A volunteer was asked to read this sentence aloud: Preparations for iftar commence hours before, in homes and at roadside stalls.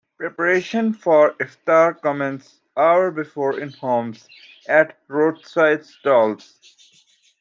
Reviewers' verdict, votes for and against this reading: accepted, 2, 1